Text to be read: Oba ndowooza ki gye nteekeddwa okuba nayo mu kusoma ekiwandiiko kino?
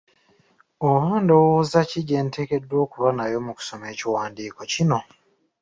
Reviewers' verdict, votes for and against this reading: accepted, 2, 0